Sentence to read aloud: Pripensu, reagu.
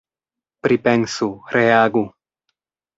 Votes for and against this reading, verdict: 2, 0, accepted